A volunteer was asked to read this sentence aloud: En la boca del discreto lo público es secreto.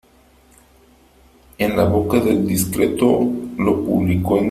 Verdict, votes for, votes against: rejected, 0, 2